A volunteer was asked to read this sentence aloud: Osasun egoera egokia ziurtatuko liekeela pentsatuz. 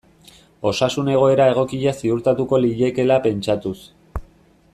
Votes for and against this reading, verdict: 2, 1, accepted